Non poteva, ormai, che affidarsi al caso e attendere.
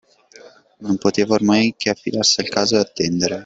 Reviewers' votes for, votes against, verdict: 2, 1, accepted